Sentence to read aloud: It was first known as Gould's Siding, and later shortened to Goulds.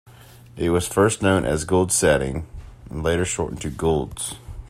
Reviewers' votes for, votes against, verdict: 0, 2, rejected